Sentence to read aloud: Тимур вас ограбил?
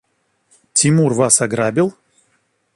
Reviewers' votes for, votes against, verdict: 2, 0, accepted